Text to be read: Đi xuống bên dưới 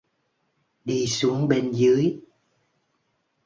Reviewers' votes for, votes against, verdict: 2, 0, accepted